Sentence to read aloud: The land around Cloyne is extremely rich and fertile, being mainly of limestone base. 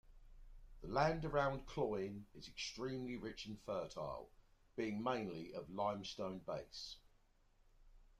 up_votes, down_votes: 2, 0